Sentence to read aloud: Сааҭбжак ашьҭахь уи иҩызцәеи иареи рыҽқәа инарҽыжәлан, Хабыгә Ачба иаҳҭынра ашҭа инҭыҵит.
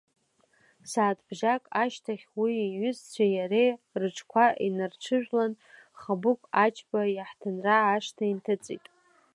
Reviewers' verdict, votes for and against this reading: accepted, 2, 1